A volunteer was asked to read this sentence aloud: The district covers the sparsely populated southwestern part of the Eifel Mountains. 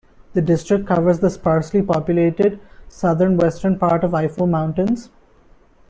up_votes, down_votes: 0, 2